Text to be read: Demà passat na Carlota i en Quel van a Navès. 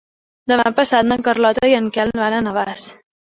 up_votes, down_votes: 0, 2